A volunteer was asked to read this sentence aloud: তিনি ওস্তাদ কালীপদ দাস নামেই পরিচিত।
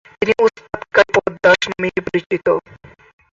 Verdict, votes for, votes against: rejected, 4, 20